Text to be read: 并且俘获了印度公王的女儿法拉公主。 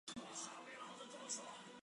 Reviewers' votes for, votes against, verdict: 2, 5, rejected